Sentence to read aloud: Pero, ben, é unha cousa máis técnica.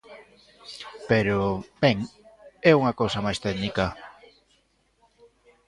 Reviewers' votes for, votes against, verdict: 2, 0, accepted